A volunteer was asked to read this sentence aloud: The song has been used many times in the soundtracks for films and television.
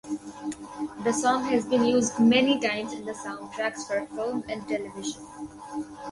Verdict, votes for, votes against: rejected, 2, 2